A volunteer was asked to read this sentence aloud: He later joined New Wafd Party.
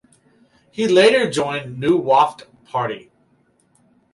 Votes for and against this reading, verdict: 4, 0, accepted